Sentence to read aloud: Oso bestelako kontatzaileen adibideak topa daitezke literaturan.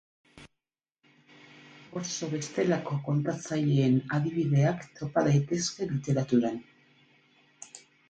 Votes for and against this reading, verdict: 4, 0, accepted